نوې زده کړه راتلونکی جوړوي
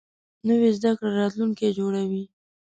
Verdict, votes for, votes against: accepted, 2, 0